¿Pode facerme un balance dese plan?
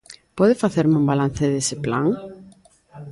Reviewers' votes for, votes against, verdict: 1, 2, rejected